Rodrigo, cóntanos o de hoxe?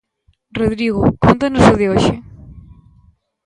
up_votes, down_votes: 2, 1